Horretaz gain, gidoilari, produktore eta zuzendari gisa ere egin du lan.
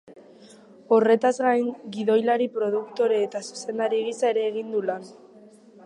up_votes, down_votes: 2, 0